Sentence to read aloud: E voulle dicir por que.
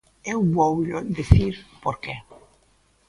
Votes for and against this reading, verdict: 0, 3, rejected